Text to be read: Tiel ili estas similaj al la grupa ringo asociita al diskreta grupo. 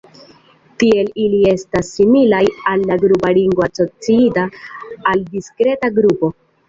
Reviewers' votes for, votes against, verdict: 2, 1, accepted